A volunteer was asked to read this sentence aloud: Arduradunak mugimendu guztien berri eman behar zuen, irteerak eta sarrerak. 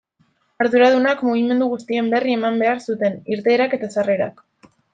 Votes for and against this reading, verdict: 0, 2, rejected